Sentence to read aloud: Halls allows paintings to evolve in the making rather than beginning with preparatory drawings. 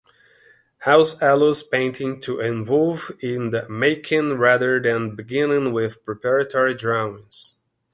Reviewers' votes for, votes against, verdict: 1, 2, rejected